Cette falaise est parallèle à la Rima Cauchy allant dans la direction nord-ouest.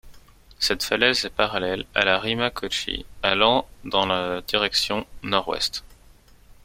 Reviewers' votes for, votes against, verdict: 2, 1, accepted